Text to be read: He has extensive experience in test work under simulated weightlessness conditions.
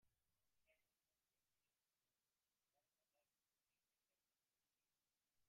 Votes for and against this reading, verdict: 0, 2, rejected